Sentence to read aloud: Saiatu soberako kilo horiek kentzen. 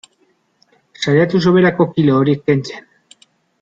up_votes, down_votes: 3, 0